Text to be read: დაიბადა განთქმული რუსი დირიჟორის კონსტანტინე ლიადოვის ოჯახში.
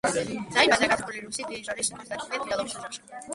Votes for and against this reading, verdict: 0, 2, rejected